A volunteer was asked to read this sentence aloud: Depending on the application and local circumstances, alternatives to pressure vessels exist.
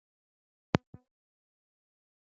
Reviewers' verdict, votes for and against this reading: rejected, 0, 2